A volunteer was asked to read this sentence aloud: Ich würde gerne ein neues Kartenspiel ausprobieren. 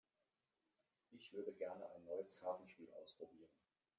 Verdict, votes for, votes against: rejected, 1, 2